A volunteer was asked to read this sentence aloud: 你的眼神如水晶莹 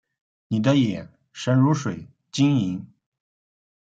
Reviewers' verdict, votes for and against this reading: accepted, 2, 1